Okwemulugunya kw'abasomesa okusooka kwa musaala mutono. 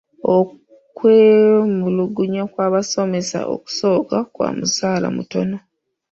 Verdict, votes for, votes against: accepted, 2, 0